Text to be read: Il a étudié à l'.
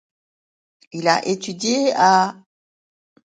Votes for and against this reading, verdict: 1, 2, rejected